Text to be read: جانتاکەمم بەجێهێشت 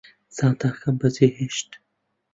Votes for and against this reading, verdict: 0, 2, rejected